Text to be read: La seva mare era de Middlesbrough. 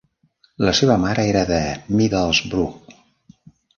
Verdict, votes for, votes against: rejected, 1, 2